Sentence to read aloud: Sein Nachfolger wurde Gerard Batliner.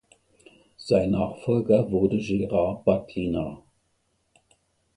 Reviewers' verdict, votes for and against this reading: rejected, 0, 2